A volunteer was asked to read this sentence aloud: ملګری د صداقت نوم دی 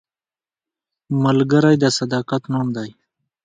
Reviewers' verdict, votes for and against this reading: accepted, 2, 0